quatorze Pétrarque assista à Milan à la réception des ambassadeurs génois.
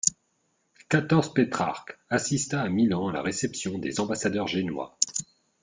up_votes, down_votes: 2, 0